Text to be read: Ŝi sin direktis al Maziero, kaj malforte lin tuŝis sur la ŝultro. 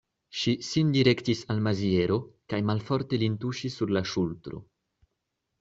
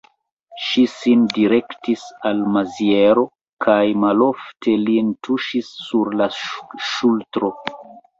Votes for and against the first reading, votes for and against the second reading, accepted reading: 2, 0, 0, 2, first